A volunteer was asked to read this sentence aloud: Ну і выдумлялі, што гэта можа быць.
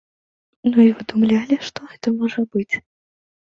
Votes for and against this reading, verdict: 2, 0, accepted